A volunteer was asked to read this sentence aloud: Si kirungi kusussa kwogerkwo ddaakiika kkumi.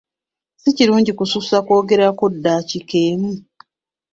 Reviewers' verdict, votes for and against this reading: rejected, 2, 3